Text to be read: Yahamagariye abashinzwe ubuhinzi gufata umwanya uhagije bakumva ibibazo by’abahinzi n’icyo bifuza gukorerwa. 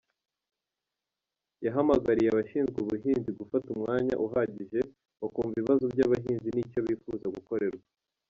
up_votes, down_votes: 0, 2